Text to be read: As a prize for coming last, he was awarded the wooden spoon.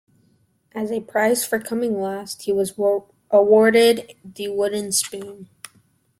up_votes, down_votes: 0, 2